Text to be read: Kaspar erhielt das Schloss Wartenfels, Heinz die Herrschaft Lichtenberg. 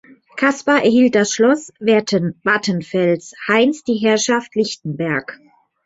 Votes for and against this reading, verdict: 0, 2, rejected